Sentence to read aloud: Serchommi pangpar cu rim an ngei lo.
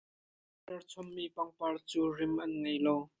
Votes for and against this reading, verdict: 0, 2, rejected